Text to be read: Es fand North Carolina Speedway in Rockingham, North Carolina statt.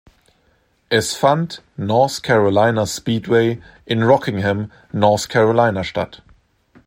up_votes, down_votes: 2, 0